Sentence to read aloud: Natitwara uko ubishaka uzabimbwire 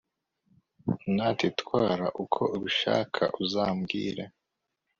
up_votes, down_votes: 1, 2